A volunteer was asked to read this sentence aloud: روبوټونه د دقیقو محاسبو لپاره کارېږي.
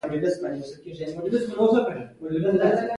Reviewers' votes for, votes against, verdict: 2, 0, accepted